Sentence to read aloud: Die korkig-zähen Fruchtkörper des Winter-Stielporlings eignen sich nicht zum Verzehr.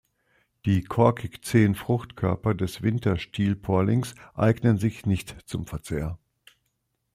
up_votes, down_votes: 2, 0